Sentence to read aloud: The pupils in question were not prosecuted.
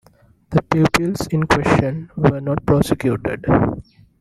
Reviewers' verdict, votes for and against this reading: rejected, 1, 2